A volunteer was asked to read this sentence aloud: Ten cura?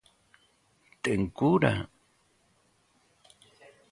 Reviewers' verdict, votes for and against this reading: accepted, 2, 0